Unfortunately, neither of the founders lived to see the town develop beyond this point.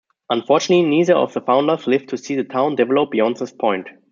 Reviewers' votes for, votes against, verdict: 2, 1, accepted